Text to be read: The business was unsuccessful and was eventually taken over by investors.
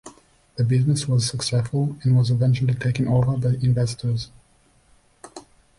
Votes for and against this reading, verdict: 1, 2, rejected